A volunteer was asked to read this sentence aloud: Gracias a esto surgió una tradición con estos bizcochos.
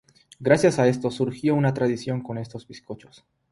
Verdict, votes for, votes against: accepted, 3, 0